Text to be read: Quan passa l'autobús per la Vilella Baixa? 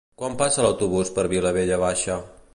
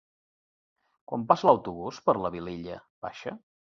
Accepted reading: second